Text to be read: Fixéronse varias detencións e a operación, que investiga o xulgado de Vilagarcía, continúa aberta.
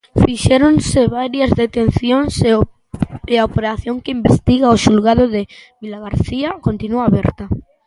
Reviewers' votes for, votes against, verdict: 0, 2, rejected